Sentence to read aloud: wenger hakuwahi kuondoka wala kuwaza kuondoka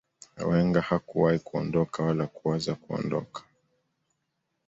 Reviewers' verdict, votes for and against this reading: accepted, 2, 0